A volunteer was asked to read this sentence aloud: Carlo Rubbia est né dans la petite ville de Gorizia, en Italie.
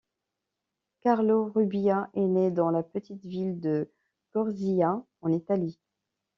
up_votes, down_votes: 0, 2